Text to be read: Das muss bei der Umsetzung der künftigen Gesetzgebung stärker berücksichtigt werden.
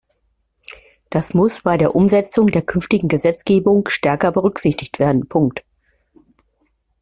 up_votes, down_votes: 2, 1